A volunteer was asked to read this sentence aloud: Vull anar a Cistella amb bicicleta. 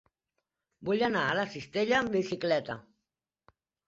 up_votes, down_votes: 0, 3